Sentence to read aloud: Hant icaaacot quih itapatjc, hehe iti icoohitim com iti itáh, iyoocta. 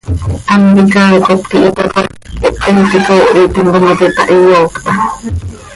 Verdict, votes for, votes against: rejected, 1, 2